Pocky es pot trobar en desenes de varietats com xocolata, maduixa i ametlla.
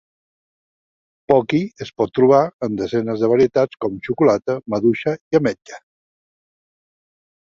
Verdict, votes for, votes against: accepted, 4, 0